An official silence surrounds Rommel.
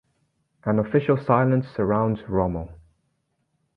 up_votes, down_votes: 2, 0